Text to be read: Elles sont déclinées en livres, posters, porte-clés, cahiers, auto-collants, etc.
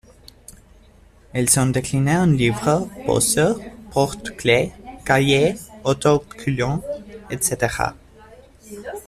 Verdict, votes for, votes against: accepted, 2, 0